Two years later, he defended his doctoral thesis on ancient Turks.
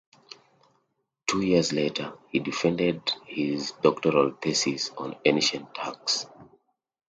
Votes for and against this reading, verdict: 2, 0, accepted